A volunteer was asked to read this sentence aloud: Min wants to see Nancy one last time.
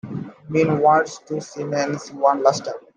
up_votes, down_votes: 2, 1